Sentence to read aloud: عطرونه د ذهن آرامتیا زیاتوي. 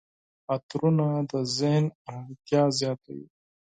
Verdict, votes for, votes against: accepted, 4, 0